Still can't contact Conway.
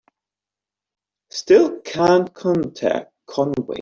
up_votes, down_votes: 1, 2